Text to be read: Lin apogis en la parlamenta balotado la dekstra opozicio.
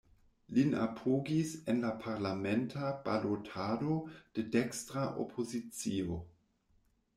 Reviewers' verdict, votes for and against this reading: rejected, 0, 2